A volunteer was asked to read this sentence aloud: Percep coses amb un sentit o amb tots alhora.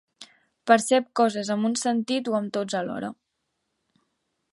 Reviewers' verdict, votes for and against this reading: accepted, 2, 0